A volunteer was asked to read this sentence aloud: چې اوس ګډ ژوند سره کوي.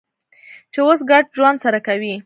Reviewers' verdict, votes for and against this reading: rejected, 1, 2